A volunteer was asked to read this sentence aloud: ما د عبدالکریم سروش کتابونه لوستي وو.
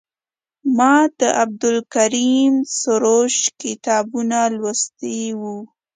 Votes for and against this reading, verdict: 2, 0, accepted